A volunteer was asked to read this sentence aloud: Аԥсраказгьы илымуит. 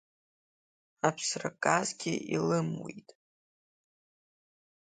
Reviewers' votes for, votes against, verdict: 3, 1, accepted